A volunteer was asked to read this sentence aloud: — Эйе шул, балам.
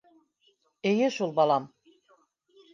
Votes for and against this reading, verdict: 2, 0, accepted